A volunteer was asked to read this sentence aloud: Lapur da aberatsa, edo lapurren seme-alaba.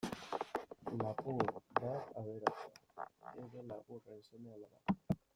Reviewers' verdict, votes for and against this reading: rejected, 0, 2